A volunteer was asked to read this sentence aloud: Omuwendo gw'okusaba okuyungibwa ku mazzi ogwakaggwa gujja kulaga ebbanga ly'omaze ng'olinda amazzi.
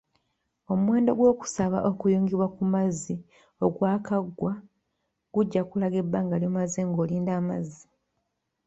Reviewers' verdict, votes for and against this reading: accepted, 2, 1